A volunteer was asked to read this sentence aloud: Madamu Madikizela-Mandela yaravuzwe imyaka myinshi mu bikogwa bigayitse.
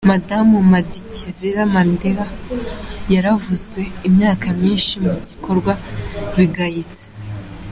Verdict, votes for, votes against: accepted, 2, 0